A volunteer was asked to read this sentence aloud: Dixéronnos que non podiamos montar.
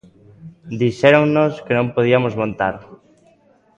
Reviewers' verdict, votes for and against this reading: rejected, 0, 2